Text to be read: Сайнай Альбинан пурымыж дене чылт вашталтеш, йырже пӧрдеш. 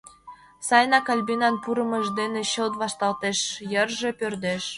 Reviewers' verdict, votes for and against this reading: rejected, 1, 2